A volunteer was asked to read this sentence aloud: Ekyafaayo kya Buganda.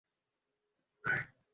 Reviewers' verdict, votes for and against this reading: rejected, 0, 2